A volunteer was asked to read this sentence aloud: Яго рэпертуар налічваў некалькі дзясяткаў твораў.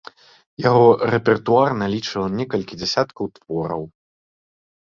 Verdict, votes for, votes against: accepted, 2, 0